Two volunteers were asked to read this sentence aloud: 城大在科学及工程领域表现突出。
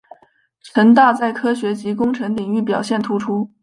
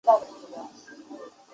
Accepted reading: first